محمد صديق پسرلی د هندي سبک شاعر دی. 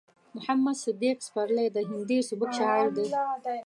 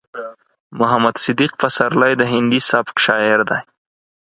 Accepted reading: second